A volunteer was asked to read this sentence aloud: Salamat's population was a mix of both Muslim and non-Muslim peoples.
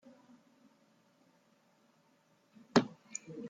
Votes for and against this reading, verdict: 0, 2, rejected